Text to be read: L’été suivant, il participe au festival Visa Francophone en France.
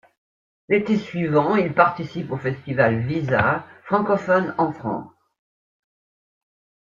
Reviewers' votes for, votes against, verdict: 2, 0, accepted